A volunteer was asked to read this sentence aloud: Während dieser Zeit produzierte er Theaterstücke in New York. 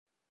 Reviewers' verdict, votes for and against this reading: rejected, 0, 2